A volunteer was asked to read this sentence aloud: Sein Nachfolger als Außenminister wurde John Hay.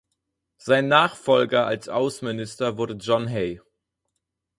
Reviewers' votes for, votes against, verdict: 4, 0, accepted